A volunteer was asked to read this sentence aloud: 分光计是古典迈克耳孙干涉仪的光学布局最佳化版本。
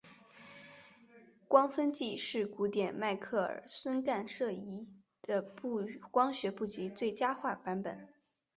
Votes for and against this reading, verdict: 3, 4, rejected